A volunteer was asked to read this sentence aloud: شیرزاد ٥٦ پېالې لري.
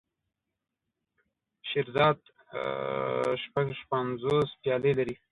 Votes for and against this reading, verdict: 0, 2, rejected